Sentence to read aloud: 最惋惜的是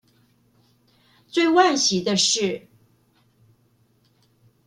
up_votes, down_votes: 2, 0